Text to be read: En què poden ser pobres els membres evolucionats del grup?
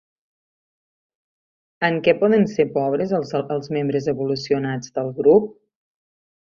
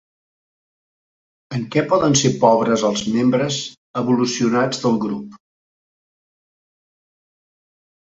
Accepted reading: second